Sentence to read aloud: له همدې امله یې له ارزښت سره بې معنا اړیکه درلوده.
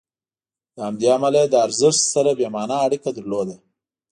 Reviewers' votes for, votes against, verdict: 2, 0, accepted